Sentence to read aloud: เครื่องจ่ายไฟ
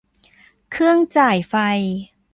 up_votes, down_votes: 0, 2